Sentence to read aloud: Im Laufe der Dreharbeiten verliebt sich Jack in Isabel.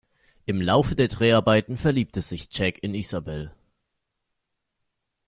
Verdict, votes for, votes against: rejected, 1, 2